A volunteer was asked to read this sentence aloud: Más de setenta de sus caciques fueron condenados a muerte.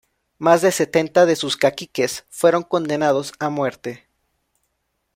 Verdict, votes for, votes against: rejected, 1, 2